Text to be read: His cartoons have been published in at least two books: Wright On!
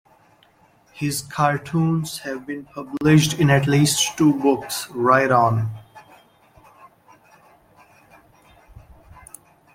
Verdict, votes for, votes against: accepted, 2, 0